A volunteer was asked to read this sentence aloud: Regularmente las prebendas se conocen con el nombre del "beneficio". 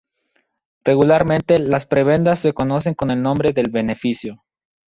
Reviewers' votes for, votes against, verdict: 2, 2, rejected